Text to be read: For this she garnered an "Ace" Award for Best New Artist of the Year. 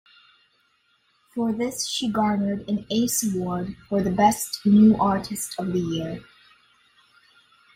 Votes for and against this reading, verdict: 0, 2, rejected